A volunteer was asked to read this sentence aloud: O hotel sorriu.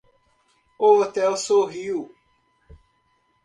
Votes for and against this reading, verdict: 1, 2, rejected